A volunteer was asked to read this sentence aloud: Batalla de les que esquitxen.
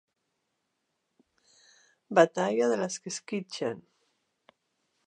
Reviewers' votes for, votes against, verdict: 2, 0, accepted